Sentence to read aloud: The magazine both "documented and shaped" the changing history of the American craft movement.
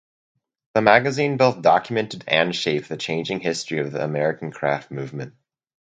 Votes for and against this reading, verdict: 2, 2, rejected